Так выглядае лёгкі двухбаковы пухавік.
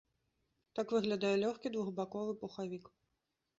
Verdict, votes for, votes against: accepted, 2, 0